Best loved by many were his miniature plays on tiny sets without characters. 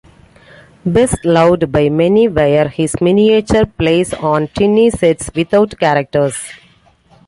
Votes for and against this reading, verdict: 2, 0, accepted